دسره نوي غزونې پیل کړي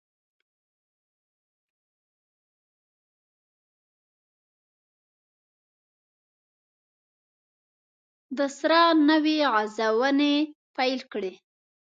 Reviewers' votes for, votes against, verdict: 0, 2, rejected